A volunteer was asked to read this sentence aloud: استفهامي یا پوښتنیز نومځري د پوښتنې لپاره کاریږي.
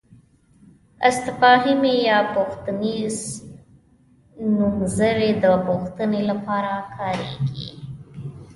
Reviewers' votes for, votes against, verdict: 1, 2, rejected